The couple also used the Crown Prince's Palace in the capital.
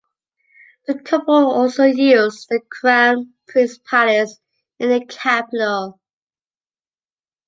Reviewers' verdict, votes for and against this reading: rejected, 1, 2